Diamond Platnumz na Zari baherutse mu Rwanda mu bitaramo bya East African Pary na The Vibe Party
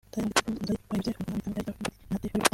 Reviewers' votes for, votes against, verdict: 0, 2, rejected